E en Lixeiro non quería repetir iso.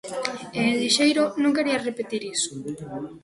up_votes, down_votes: 3, 0